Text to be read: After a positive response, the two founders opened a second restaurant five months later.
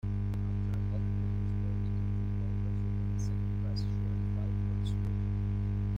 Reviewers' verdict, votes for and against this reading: rejected, 0, 2